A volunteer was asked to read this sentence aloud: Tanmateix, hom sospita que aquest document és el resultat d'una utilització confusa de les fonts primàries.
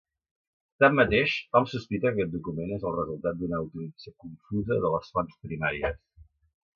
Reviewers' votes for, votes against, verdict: 1, 2, rejected